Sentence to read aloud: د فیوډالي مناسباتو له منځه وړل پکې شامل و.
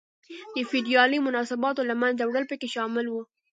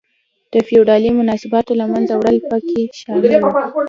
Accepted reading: first